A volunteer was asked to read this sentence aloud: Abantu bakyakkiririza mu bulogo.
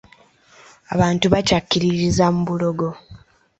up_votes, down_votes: 2, 0